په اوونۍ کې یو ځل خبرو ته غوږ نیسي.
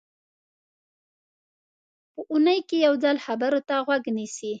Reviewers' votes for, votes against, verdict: 2, 0, accepted